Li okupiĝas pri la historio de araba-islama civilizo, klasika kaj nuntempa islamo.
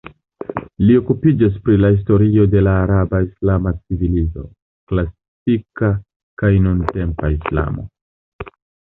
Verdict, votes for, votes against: rejected, 0, 2